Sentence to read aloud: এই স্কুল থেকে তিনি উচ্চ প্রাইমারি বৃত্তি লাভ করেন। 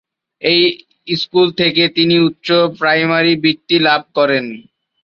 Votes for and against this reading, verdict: 1, 2, rejected